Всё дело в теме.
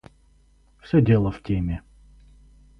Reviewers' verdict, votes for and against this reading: accepted, 4, 0